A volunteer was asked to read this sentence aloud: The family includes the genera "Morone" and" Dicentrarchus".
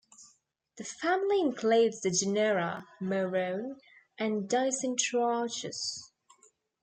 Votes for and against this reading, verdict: 2, 0, accepted